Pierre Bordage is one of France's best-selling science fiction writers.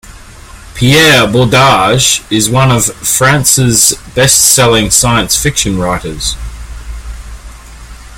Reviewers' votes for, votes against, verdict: 2, 0, accepted